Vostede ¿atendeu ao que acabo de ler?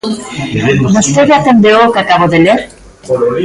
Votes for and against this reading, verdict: 1, 2, rejected